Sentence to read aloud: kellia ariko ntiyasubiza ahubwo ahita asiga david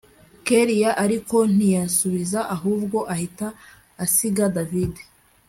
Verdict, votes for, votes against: accepted, 2, 0